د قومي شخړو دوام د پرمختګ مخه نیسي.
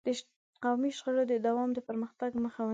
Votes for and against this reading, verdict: 1, 2, rejected